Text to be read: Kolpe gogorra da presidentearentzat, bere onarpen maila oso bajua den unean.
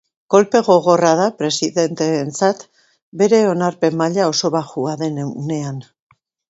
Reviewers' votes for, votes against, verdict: 1, 2, rejected